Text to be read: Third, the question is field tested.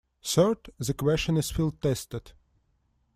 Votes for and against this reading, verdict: 2, 0, accepted